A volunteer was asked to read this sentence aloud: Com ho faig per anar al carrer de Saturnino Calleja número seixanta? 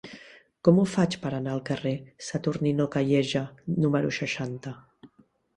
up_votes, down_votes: 0, 2